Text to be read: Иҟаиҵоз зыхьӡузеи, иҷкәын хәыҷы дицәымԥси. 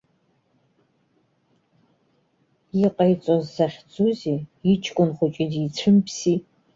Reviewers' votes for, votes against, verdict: 0, 2, rejected